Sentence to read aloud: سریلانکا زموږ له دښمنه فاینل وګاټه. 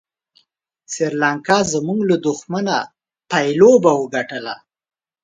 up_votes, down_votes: 0, 2